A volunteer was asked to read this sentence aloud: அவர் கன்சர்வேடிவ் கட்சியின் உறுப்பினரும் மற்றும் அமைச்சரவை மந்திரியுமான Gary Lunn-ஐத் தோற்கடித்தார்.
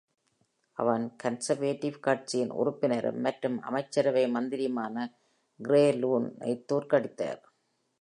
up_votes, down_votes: 1, 2